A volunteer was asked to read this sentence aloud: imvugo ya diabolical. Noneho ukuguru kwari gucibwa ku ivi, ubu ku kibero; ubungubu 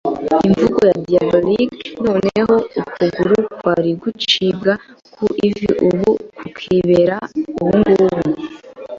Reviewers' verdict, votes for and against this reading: rejected, 0, 2